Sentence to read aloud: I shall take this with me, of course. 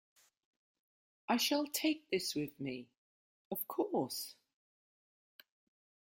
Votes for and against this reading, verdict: 2, 0, accepted